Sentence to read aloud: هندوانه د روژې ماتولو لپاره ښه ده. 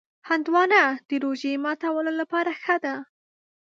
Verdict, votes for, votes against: accepted, 2, 0